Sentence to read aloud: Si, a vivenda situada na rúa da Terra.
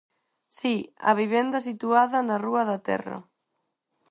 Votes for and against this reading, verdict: 4, 0, accepted